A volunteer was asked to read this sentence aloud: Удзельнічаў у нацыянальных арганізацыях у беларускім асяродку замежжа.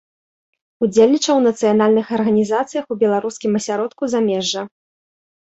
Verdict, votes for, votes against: accepted, 2, 0